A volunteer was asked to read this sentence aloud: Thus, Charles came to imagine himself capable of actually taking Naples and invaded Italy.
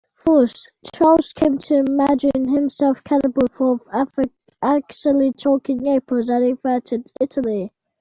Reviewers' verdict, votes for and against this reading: rejected, 0, 2